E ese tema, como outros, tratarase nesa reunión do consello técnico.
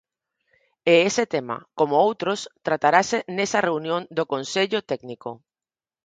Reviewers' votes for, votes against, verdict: 4, 0, accepted